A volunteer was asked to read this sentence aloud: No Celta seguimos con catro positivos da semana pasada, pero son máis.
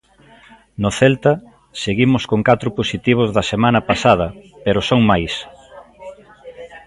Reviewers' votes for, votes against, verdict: 1, 2, rejected